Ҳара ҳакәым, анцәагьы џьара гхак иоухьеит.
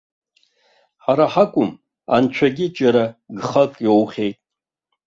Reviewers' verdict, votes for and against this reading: accepted, 2, 0